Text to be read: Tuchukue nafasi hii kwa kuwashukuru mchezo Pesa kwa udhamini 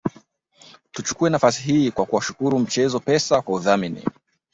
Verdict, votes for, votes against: rejected, 1, 2